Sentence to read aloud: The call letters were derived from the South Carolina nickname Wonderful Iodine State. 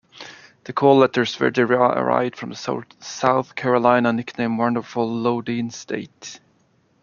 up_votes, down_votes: 1, 2